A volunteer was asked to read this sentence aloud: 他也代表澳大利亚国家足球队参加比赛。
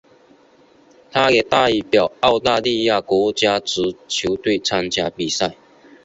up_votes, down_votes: 2, 0